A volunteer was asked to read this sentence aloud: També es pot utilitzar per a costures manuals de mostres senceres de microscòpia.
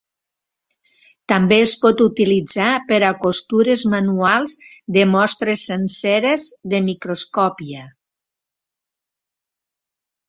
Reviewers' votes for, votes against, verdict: 3, 0, accepted